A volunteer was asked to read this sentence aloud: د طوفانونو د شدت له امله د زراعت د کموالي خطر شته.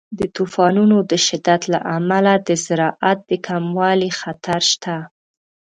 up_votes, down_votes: 2, 0